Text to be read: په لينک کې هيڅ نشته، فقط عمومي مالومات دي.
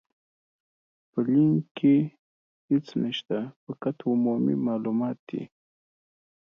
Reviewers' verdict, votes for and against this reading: accepted, 2, 0